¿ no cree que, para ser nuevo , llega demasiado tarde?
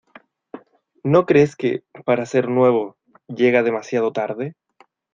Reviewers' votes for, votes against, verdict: 1, 2, rejected